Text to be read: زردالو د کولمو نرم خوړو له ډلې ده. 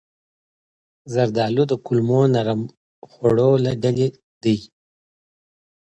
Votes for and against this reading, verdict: 2, 0, accepted